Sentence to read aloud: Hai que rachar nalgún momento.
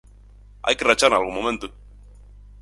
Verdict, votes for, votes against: accepted, 4, 2